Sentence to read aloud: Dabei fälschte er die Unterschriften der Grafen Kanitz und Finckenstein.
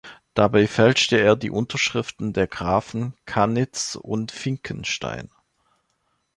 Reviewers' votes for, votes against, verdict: 2, 0, accepted